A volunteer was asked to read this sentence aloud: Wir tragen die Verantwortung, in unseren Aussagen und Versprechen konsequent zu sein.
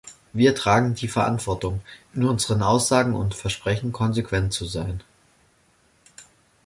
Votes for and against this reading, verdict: 2, 0, accepted